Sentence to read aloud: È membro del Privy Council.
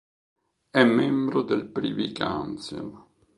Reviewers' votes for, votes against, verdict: 1, 2, rejected